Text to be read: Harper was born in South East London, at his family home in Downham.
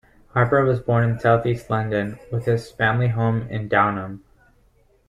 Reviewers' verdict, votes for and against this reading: rejected, 1, 2